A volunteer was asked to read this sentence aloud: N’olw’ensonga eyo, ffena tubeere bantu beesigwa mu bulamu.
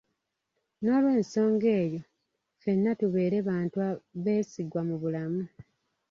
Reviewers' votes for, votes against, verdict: 1, 2, rejected